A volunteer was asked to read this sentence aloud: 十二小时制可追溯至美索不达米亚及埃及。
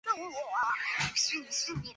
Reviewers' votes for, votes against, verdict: 1, 4, rejected